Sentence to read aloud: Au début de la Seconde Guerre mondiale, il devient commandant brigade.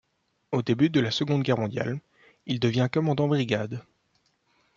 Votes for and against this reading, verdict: 2, 0, accepted